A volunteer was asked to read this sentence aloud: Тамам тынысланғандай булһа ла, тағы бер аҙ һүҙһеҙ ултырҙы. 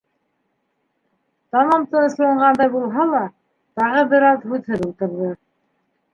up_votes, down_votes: 2, 1